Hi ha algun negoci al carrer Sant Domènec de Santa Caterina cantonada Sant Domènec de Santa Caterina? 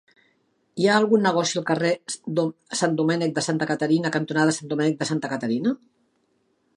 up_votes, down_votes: 1, 2